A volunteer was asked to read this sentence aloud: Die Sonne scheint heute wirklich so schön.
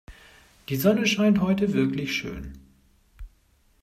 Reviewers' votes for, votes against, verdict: 1, 2, rejected